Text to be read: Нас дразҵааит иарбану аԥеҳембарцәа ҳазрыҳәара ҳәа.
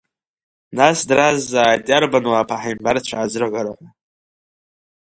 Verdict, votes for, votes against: rejected, 1, 2